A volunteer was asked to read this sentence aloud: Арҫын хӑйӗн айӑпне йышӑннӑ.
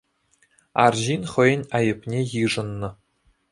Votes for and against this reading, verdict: 2, 0, accepted